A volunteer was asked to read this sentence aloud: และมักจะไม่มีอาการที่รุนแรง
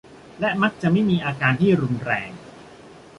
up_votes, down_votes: 2, 0